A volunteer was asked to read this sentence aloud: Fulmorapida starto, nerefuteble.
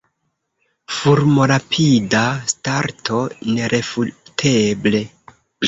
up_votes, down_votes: 0, 2